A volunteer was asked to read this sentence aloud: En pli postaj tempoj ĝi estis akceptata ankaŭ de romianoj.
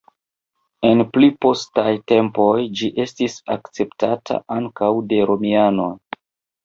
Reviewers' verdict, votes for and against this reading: rejected, 1, 2